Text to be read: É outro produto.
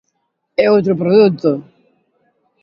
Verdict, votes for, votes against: accepted, 2, 0